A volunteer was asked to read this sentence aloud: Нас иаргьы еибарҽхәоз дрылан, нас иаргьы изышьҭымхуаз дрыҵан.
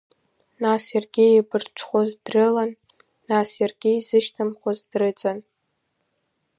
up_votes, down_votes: 3, 1